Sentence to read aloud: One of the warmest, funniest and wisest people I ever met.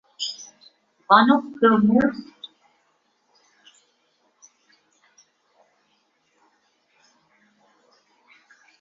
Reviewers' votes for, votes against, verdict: 0, 2, rejected